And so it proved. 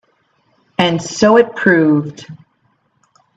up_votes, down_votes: 2, 0